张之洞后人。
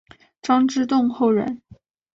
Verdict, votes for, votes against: accepted, 2, 0